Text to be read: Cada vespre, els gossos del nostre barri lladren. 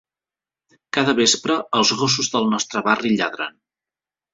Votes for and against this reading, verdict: 3, 0, accepted